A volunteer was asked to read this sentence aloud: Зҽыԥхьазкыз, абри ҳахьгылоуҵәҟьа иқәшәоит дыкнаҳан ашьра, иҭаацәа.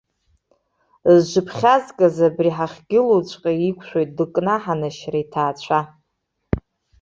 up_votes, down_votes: 0, 2